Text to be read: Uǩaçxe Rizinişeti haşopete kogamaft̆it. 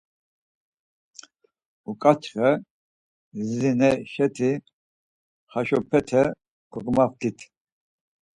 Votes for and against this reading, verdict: 4, 0, accepted